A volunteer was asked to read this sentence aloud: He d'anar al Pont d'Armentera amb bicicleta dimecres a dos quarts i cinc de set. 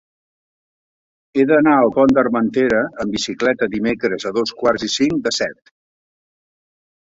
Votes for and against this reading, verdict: 3, 0, accepted